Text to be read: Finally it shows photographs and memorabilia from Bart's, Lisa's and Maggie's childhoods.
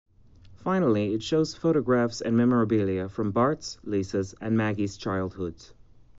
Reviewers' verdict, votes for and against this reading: accepted, 2, 0